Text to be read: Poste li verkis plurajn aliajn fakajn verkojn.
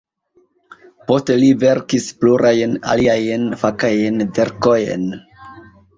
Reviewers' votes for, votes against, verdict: 3, 1, accepted